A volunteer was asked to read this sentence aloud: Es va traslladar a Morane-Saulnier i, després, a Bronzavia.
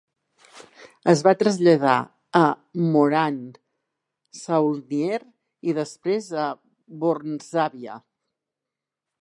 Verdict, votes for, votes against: rejected, 0, 2